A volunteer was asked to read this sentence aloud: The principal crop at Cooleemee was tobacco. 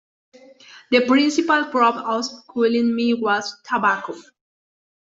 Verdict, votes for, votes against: rejected, 1, 2